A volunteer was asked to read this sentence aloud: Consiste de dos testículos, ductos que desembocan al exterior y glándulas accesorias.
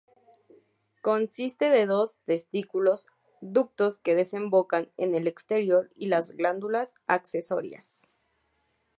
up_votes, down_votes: 2, 0